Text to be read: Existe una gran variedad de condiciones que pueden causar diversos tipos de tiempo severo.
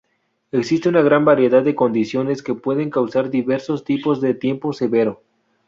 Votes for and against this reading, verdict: 0, 2, rejected